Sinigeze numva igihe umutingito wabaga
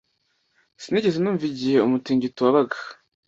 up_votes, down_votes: 2, 0